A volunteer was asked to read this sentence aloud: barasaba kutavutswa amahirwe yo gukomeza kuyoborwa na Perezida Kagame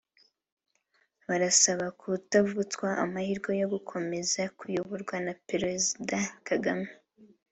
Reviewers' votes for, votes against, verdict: 2, 0, accepted